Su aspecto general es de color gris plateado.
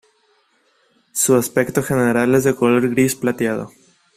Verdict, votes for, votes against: accepted, 2, 0